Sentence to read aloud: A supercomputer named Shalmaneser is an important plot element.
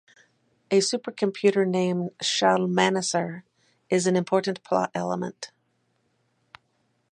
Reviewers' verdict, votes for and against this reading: accepted, 2, 0